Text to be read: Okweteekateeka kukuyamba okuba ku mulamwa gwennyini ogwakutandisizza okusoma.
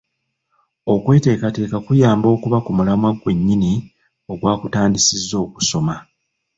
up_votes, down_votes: 1, 2